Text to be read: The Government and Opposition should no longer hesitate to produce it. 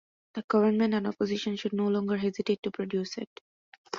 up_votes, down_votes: 2, 0